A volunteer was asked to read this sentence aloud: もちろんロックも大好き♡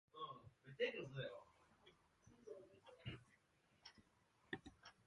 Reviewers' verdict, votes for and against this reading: rejected, 0, 2